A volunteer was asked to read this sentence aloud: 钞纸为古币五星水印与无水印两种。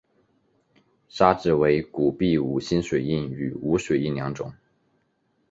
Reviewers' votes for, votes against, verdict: 0, 2, rejected